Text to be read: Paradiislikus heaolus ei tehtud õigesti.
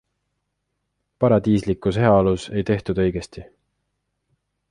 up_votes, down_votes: 2, 0